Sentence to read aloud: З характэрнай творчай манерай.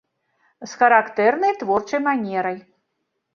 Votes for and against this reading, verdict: 2, 0, accepted